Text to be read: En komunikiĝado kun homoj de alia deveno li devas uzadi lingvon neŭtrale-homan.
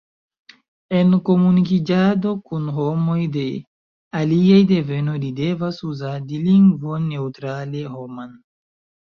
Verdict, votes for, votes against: rejected, 0, 2